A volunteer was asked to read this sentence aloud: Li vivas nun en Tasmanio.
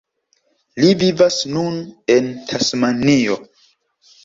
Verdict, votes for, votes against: accepted, 2, 1